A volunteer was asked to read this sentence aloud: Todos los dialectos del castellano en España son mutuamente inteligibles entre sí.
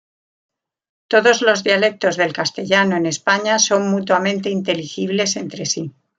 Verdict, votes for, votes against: accepted, 2, 0